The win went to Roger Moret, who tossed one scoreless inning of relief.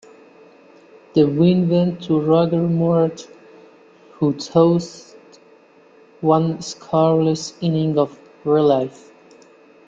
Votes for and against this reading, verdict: 0, 2, rejected